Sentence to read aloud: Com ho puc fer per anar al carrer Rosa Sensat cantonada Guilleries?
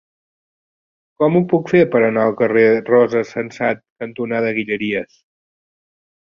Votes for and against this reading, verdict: 2, 0, accepted